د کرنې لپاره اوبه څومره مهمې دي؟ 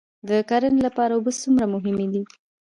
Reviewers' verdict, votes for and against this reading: rejected, 0, 2